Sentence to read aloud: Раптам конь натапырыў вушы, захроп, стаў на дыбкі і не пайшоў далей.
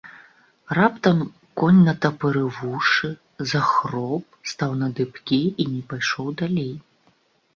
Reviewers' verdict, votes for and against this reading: accepted, 2, 0